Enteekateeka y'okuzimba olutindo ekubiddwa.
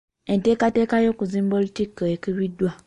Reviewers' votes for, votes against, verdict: 1, 2, rejected